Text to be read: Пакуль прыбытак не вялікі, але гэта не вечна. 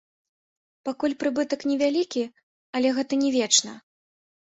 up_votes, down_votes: 0, 3